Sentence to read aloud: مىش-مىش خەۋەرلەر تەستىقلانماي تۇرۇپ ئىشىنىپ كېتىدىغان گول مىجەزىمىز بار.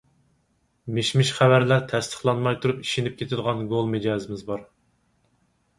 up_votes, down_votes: 4, 0